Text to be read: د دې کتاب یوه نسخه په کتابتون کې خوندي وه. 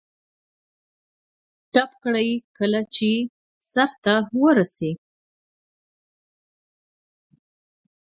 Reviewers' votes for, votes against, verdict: 1, 2, rejected